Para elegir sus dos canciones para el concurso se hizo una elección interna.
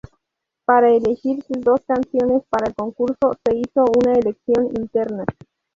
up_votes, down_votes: 0, 4